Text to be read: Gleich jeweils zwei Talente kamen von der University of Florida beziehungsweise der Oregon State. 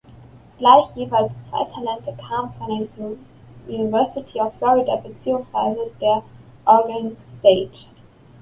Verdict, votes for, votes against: rejected, 1, 2